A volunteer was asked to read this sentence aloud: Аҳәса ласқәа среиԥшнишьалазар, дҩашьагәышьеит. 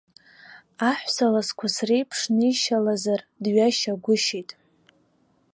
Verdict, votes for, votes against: accepted, 2, 1